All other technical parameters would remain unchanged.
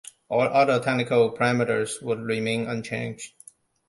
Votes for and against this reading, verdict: 2, 0, accepted